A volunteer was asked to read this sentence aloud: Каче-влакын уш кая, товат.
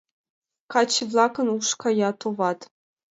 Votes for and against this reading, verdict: 2, 0, accepted